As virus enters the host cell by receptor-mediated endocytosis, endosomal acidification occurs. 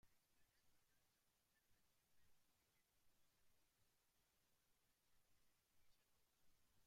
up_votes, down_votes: 0, 2